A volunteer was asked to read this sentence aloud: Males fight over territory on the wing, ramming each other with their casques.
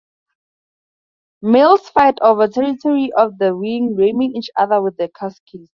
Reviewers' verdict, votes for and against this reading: rejected, 0, 2